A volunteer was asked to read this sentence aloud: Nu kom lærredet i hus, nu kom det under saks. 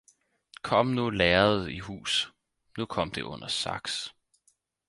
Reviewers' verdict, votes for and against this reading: rejected, 2, 4